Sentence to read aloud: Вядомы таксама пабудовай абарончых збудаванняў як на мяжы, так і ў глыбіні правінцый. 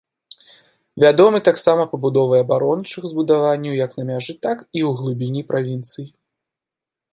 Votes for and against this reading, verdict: 2, 0, accepted